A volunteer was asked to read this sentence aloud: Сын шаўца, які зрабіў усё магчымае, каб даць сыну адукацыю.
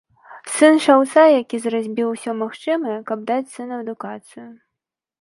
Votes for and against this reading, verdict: 0, 2, rejected